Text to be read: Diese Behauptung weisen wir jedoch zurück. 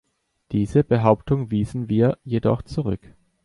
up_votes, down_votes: 1, 2